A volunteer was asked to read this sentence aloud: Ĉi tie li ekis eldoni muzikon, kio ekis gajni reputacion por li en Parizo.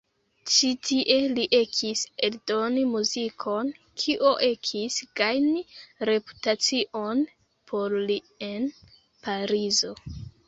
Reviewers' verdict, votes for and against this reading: rejected, 0, 2